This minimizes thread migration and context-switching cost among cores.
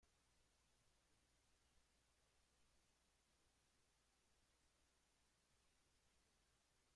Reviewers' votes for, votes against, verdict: 0, 2, rejected